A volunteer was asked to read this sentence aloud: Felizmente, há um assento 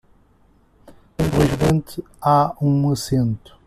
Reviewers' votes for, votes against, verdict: 0, 2, rejected